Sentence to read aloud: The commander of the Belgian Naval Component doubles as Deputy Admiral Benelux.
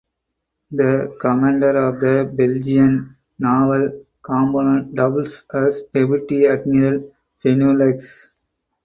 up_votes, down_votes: 4, 0